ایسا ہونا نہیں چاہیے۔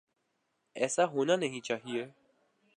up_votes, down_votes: 2, 0